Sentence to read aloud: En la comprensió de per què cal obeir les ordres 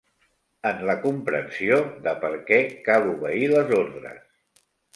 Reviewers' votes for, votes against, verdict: 3, 0, accepted